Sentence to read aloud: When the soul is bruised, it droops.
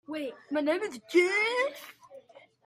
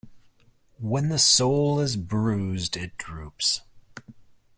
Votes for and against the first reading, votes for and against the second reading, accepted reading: 0, 2, 2, 0, second